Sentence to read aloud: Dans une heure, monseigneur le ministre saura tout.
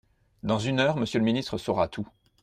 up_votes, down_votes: 1, 2